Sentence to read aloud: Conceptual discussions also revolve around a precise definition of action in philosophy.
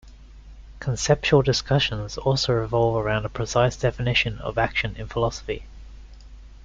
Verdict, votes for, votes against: accepted, 2, 0